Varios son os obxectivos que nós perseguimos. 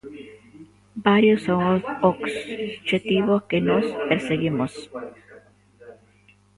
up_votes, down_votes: 0, 2